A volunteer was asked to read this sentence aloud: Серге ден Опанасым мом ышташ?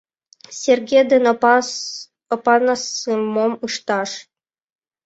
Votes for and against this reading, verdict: 2, 3, rejected